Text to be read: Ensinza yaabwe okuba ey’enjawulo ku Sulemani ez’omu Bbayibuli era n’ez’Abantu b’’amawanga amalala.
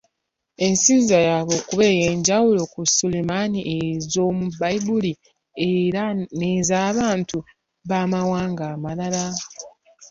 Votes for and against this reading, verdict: 2, 1, accepted